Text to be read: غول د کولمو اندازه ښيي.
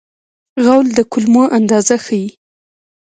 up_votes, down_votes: 1, 2